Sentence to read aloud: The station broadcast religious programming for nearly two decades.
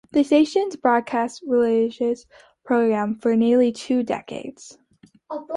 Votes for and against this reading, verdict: 1, 2, rejected